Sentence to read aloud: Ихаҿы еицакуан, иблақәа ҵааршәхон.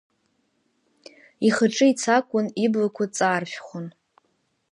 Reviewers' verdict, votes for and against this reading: rejected, 1, 2